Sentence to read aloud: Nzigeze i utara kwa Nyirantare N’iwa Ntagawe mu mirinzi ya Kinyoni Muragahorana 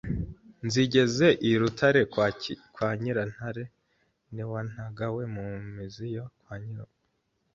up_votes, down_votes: 1, 2